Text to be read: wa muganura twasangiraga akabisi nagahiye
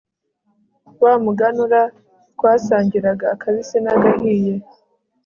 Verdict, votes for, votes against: accepted, 2, 0